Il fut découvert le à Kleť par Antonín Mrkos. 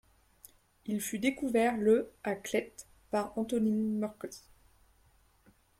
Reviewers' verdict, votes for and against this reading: rejected, 1, 3